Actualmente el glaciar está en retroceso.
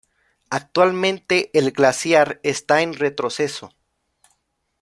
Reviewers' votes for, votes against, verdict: 2, 0, accepted